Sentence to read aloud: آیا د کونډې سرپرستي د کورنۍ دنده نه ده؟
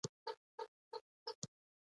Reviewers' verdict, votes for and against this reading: rejected, 0, 2